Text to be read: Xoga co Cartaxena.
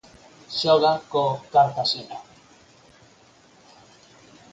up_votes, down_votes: 4, 0